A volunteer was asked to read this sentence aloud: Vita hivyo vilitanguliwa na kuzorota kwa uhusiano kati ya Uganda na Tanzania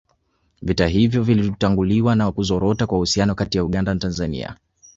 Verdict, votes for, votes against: rejected, 1, 2